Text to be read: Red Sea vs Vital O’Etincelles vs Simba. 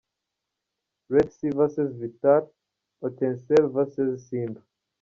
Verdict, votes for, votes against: rejected, 1, 2